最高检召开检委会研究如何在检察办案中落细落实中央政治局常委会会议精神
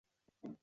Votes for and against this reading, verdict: 0, 3, rejected